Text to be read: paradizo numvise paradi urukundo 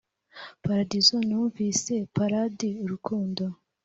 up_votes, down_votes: 2, 0